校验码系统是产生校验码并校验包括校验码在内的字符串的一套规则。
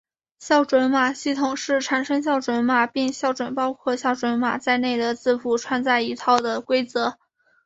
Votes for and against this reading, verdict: 2, 1, accepted